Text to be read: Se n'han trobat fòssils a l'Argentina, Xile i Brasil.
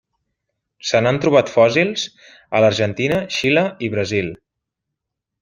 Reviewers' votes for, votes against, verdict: 3, 0, accepted